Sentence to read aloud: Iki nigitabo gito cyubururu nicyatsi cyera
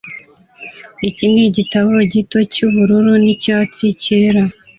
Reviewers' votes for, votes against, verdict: 2, 0, accepted